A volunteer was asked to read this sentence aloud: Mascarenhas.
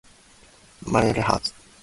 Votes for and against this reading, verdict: 0, 2, rejected